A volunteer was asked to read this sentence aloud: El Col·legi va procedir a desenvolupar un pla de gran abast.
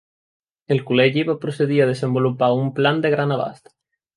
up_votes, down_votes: 0, 2